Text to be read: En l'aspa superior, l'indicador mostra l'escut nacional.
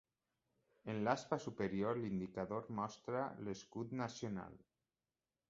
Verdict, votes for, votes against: rejected, 1, 2